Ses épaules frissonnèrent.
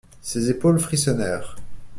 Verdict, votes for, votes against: accepted, 2, 0